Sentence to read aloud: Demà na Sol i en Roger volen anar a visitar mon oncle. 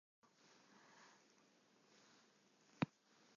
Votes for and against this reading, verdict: 0, 2, rejected